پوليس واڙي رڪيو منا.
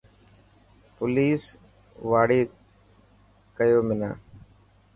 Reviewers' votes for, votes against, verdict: 2, 0, accepted